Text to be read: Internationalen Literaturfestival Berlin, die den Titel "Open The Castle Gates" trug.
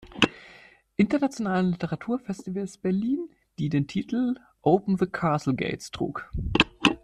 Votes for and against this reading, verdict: 0, 2, rejected